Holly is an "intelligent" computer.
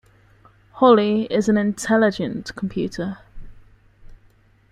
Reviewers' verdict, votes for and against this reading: accepted, 2, 0